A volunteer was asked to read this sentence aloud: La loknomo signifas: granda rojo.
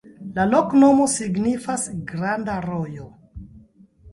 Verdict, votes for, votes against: rejected, 0, 2